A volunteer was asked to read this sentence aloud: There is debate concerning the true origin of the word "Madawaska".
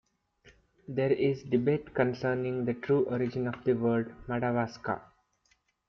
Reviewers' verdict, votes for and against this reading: accepted, 2, 0